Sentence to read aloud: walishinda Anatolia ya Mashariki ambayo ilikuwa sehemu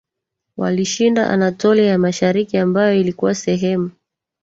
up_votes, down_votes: 1, 2